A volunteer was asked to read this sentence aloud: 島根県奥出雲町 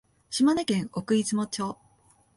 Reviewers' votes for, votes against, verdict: 2, 0, accepted